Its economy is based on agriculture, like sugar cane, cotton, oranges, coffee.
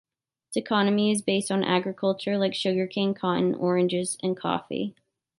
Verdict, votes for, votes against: accepted, 2, 0